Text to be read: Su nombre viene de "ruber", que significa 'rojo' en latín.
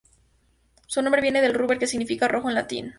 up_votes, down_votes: 2, 0